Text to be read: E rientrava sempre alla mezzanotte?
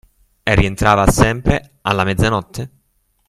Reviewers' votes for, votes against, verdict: 2, 0, accepted